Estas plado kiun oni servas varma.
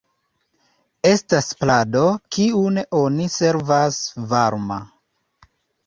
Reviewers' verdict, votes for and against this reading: accepted, 2, 0